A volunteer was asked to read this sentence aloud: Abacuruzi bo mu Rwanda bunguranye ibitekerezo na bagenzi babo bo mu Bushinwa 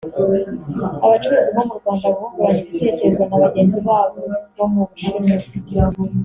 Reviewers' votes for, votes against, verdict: 1, 2, rejected